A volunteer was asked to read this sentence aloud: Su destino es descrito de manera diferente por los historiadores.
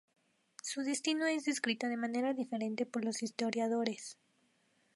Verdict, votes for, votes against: rejected, 0, 2